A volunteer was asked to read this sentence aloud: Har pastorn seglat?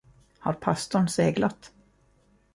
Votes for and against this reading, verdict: 2, 0, accepted